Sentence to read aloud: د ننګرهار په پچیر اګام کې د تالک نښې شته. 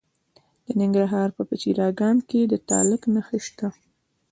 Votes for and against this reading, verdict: 2, 0, accepted